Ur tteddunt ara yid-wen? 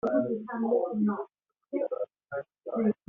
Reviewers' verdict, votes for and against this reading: rejected, 0, 2